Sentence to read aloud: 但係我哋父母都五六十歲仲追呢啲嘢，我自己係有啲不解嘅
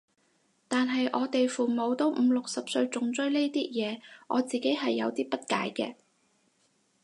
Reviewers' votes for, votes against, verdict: 6, 0, accepted